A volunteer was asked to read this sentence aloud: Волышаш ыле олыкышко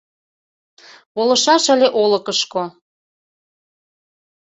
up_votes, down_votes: 2, 0